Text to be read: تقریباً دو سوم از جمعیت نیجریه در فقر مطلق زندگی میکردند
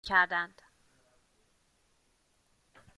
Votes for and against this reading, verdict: 0, 2, rejected